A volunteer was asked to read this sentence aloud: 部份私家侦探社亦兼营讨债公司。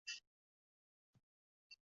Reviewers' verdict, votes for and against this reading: rejected, 1, 5